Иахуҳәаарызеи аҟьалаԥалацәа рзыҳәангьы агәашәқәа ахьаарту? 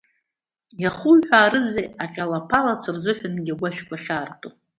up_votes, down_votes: 2, 0